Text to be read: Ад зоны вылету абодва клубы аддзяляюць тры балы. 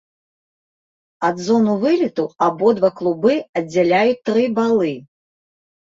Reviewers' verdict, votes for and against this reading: rejected, 0, 2